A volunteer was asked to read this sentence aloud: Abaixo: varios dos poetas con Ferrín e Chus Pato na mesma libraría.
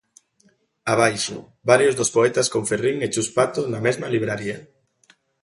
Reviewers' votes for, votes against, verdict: 2, 0, accepted